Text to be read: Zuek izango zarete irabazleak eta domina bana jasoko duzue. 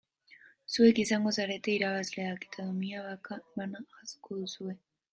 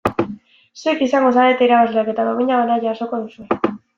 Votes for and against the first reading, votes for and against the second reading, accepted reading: 1, 2, 2, 1, second